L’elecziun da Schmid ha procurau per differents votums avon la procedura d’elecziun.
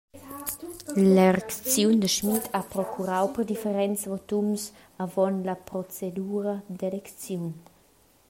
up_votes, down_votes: 0, 2